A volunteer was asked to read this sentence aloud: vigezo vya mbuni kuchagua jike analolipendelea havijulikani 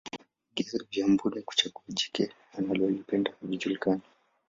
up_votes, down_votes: 1, 2